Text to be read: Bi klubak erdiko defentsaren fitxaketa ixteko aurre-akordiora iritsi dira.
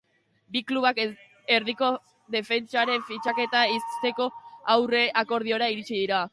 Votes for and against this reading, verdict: 0, 2, rejected